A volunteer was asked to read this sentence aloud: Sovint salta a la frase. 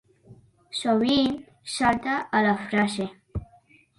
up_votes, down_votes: 3, 1